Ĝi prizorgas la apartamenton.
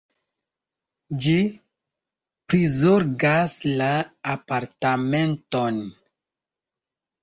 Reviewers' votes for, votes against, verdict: 2, 1, accepted